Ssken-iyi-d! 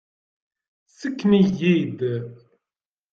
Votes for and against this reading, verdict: 0, 2, rejected